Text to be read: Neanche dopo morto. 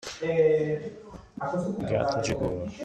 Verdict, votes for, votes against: rejected, 0, 2